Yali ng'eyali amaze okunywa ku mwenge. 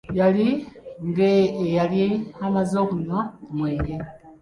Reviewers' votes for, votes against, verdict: 1, 2, rejected